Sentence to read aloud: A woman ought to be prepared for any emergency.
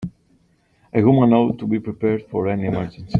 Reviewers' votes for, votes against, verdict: 1, 2, rejected